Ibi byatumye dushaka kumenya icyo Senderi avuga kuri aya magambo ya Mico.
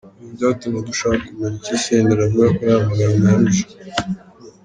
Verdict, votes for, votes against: rejected, 0, 2